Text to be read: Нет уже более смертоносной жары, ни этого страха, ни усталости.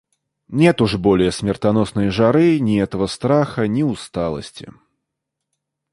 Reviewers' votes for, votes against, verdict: 0, 2, rejected